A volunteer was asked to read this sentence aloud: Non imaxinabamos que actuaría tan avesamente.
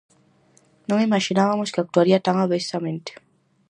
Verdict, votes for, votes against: rejected, 0, 4